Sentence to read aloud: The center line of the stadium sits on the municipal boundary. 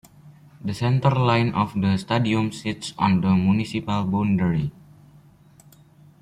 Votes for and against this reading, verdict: 1, 2, rejected